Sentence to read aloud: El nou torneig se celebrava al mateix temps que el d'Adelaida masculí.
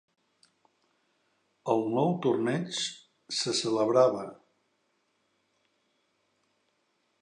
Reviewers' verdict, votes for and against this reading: rejected, 0, 2